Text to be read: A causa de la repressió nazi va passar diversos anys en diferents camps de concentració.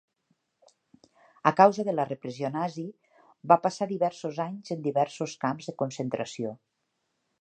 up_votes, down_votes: 0, 3